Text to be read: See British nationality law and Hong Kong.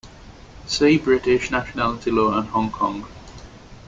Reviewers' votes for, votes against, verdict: 2, 0, accepted